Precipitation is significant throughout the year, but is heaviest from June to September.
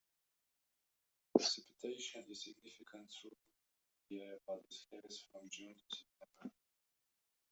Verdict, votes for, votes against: rejected, 0, 2